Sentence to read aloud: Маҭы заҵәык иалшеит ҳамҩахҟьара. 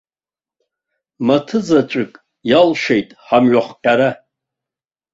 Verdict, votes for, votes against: accepted, 2, 0